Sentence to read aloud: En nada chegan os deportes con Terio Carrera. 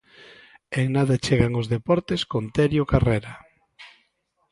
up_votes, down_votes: 2, 0